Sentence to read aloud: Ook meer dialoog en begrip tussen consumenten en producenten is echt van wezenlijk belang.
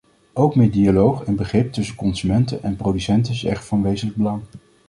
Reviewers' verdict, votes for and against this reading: rejected, 1, 2